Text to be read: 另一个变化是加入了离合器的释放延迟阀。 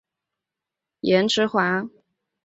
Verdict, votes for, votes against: rejected, 0, 2